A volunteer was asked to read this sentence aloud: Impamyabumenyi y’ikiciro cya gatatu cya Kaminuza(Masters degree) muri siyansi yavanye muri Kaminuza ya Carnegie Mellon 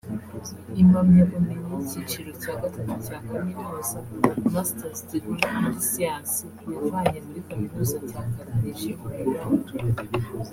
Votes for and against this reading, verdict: 3, 0, accepted